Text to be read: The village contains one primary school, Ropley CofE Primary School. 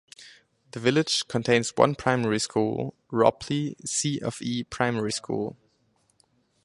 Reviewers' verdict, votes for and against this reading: accepted, 4, 0